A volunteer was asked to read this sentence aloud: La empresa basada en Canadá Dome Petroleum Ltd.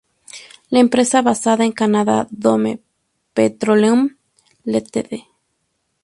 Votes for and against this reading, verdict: 2, 0, accepted